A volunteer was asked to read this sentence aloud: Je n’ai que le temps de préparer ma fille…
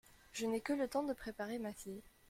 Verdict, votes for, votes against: accepted, 2, 0